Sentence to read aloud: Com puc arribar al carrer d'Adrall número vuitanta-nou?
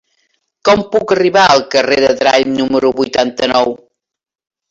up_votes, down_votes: 0, 2